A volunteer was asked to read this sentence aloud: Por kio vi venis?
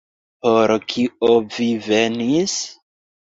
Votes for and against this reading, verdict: 2, 0, accepted